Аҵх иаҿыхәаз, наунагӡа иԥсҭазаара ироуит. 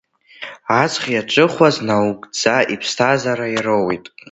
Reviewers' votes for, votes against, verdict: 1, 2, rejected